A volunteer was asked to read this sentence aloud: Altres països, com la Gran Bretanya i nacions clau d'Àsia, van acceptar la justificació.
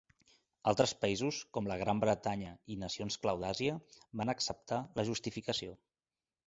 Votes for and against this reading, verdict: 2, 0, accepted